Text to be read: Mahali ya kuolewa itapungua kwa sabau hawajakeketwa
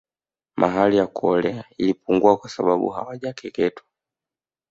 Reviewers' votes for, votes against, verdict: 0, 2, rejected